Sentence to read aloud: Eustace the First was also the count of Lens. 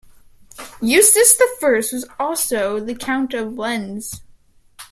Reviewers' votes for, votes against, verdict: 1, 3, rejected